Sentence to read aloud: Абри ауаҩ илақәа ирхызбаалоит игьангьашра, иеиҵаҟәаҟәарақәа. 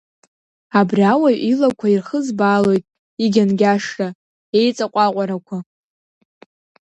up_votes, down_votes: 2, 0